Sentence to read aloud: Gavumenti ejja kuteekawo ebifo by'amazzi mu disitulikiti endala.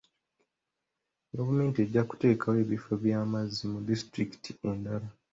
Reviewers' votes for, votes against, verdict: 2, 1, accepted